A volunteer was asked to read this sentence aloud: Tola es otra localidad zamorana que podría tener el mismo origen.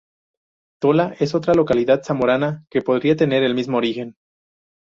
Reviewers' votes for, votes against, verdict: 2, 2, rejected